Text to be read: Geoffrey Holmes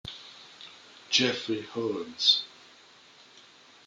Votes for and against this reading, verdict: 0, 2, rejected